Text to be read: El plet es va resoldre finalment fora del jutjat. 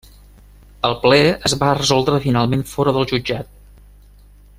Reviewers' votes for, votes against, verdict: 0, 2, rejected